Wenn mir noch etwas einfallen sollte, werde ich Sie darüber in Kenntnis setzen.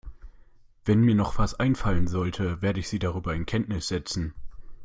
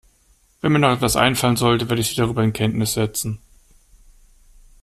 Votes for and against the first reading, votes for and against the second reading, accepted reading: 0, 2, 2, 0, second